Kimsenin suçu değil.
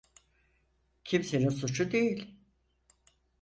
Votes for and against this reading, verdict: 4, 0, accepted